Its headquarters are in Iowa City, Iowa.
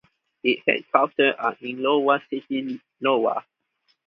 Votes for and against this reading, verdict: 0, 2, rejected